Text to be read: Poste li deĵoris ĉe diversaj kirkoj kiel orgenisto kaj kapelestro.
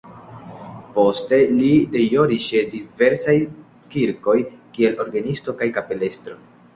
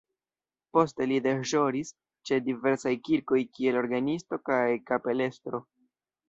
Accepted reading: first